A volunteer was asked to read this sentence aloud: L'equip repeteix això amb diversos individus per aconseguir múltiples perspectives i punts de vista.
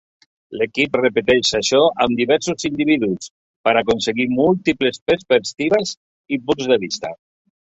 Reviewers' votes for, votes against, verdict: 1, 2, rejected